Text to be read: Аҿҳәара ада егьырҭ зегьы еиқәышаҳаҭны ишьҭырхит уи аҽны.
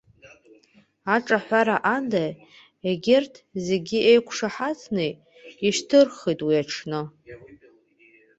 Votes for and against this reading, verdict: 0, 2, rejected